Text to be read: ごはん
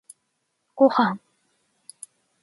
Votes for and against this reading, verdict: 2, 0, accepted